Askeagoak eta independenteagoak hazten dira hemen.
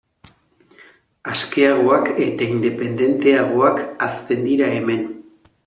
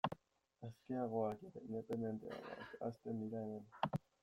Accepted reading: first